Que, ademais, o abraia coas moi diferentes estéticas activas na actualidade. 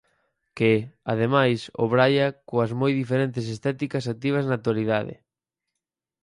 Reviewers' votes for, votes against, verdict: 2, 4, rejected